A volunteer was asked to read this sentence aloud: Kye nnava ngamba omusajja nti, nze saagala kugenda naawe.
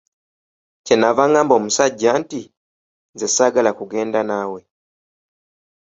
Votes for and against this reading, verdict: 2, 0, accepted